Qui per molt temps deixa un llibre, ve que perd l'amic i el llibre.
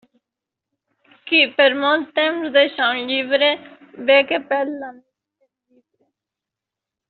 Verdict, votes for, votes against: rejected, 0, 2